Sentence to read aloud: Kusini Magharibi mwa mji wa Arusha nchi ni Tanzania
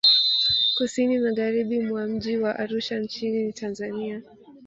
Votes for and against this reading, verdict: 0, 2, rejected